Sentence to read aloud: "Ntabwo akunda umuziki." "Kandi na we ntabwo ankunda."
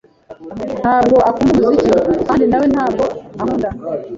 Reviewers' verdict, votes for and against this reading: accepted, 2, 1